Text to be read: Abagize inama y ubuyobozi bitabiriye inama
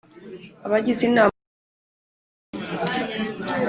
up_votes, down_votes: 0, 2